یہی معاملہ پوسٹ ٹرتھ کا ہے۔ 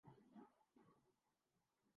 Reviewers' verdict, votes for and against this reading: rejected, 0, 2